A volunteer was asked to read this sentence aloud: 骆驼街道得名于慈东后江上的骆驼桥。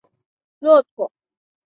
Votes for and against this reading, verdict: 1, 3, rejected